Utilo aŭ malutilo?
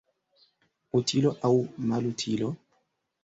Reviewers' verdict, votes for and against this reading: accepted, 2, 1